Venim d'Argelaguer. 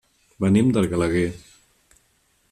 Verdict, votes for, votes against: rejected, 1, 2